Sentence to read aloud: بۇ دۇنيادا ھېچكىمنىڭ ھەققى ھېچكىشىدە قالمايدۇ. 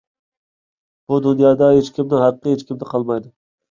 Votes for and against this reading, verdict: 1, 2, rejected